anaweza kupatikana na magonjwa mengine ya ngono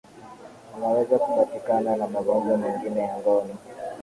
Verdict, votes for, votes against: rejected, 3, 3